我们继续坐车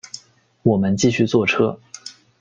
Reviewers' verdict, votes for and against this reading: accepted, 2, 0